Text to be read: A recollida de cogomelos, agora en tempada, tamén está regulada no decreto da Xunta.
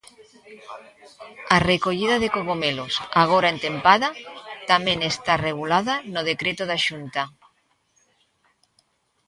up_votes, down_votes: 0, 2